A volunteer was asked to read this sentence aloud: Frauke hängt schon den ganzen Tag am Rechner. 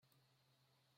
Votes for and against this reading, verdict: 0, 2, rejected